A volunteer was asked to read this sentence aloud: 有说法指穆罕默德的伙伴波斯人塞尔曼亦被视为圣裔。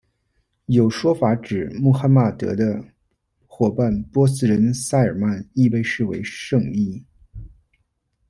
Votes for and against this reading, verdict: 0, 2, rejected